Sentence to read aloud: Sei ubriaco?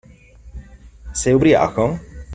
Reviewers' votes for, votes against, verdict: 2, 0, accepted